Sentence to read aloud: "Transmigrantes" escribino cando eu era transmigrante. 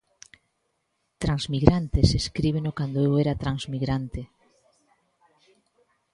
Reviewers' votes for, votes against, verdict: 1, 2, rejected